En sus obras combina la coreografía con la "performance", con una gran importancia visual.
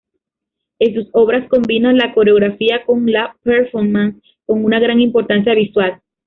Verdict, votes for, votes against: rejected, 1, 2